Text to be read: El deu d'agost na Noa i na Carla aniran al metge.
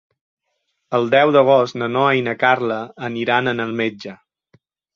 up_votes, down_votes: 0, 2